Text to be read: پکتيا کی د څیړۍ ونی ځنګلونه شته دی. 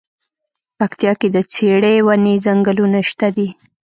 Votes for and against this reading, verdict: 2, 0, accepted